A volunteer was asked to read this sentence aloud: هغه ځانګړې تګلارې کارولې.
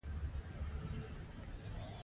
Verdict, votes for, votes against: rejected, 0, 2